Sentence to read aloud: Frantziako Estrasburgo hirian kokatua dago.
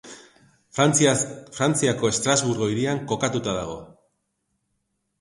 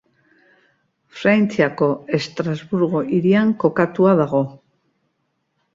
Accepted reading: second